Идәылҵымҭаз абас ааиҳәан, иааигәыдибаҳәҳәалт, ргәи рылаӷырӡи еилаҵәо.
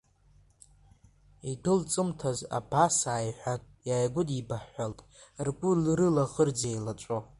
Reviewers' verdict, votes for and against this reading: rejected, 0, 2